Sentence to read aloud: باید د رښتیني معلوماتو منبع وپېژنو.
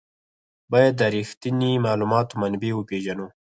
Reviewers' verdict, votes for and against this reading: accepted, 4, 2